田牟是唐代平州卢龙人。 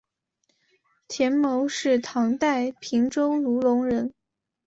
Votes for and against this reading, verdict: 3, 0, accepted